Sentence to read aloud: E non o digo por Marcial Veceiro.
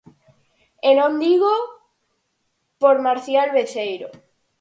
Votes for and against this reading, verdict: 0, 4, rejected